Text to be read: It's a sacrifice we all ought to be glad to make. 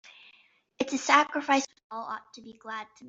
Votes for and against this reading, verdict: 0, 2, rejected